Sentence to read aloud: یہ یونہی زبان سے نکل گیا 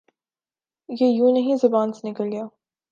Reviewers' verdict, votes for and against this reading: accepted, 2, 1